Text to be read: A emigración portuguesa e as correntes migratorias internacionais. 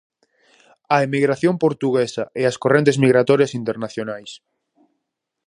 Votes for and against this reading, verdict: 4, 0, accepted